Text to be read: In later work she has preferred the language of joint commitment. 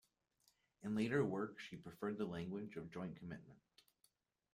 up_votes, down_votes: 0, 2